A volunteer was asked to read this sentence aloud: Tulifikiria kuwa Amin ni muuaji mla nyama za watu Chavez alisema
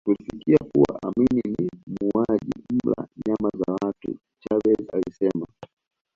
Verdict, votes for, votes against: rejected, 0, 2